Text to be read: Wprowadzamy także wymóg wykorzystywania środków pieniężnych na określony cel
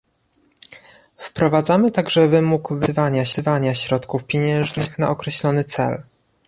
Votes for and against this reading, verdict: 0, 2, rejected